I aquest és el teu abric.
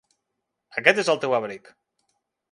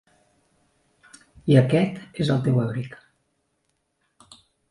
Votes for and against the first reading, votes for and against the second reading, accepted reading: 0, 2, 3, 0, second